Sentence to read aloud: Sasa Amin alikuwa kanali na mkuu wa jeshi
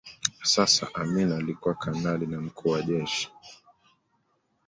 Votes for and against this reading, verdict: 2, 0, accepted